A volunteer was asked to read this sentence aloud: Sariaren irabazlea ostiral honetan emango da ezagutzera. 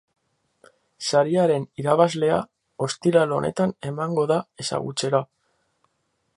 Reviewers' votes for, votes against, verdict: 4, 2, accepted